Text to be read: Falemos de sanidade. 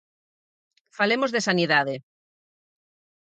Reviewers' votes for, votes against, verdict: 4, 0, accepted